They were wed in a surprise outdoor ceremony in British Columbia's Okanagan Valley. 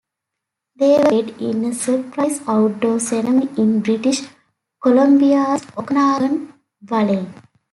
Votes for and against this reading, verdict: 0, 2, rejected